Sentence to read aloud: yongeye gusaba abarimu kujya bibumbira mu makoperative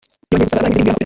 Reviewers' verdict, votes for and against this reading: rejected, 0, 2